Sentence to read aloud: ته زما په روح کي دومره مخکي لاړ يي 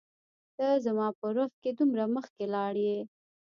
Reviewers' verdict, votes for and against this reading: rejected, 0, 2